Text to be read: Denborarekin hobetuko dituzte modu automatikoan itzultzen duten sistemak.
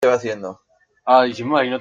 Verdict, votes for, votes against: rejected, 0, 2